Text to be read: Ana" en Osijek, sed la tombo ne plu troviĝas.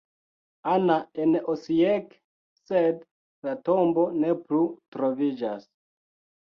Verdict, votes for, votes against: accepted, 2, 0